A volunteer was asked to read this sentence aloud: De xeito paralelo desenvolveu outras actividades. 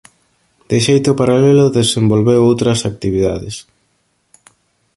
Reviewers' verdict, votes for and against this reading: accepted, 2, 0